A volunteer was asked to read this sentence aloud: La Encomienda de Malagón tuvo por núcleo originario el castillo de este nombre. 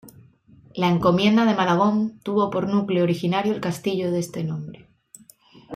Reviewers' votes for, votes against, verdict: 2, 0, accepted